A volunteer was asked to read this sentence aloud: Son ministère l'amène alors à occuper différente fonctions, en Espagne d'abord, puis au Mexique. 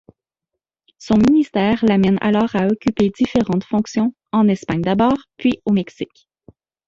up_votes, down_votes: 1, 2